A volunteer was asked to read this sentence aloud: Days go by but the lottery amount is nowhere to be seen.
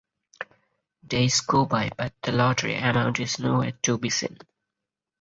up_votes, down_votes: 0, 4